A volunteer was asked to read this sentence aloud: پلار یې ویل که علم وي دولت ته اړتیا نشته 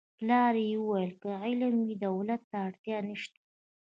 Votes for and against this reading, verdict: 2, 1, accepted